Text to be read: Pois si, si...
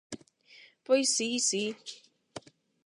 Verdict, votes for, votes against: accepted, 8, 0